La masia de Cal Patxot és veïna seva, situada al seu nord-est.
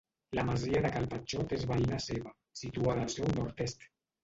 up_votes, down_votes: 0, 2